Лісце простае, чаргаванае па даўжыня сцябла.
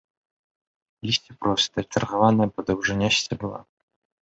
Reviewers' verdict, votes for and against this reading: rejected, 0, 2